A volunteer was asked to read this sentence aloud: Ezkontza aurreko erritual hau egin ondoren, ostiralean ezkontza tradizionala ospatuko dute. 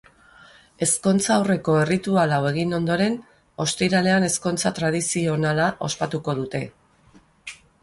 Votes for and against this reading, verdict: 4, 0, accepted